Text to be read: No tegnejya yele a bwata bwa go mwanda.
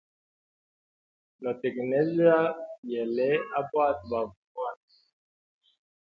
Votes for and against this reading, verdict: 1, 2, rejected